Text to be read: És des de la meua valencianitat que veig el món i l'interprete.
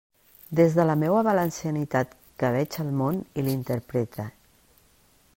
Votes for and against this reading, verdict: 1, 2, rejected